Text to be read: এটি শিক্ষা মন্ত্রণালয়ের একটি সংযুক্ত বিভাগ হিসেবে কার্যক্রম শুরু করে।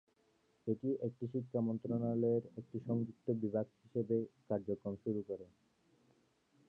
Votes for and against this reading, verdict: 0, 2, rejected